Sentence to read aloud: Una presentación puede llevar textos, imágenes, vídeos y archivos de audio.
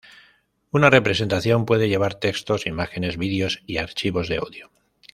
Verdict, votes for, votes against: rejected, 0, 2